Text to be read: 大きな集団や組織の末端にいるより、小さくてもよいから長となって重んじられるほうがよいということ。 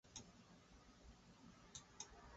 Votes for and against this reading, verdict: 0, 2, rejected